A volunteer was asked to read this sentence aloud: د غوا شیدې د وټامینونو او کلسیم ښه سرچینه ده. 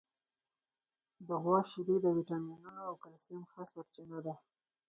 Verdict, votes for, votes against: accepted, 4, 0